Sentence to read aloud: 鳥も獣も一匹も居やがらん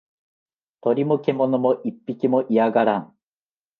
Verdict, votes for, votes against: accepted, 2, 0